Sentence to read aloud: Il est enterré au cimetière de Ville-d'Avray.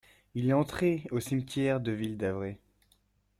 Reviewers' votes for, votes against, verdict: 0, 2, rejected